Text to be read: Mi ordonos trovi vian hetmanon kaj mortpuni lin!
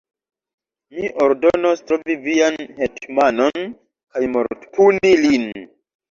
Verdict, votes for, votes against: accepted, 2, 0